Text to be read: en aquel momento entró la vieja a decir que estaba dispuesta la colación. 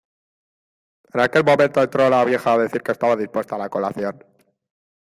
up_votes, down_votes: 2, 0